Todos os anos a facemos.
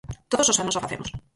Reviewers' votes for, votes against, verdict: 2, 4, rejected